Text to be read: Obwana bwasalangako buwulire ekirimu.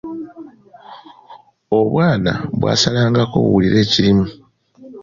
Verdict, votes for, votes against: accepted, 2, 0